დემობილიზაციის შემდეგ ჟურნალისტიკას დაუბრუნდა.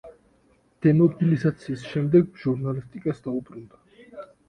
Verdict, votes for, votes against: accepted, 2, 0